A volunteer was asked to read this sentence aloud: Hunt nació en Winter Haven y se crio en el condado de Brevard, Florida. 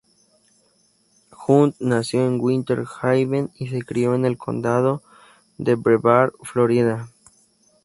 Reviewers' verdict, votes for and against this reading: accepted, 2, 0